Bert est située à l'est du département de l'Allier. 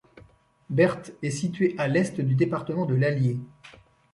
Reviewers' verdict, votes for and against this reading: rejected, 1, 2